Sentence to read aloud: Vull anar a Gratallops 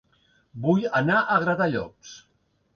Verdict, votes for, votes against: accepted, 2, 0